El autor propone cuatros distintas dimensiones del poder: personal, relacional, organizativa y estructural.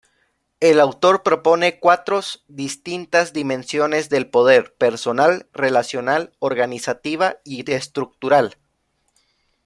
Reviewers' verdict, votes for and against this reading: rejected, 1, 2